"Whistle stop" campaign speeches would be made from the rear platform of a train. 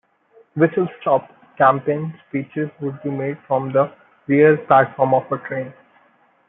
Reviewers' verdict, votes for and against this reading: accepted, 2, 1